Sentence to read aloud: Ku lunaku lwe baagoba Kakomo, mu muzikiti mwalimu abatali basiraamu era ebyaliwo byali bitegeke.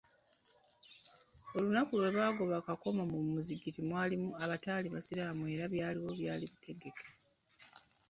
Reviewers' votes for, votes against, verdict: 3, 1, accepted